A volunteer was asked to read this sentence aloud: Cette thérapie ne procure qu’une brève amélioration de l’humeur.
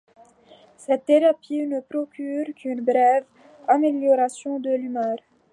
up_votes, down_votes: 2, 0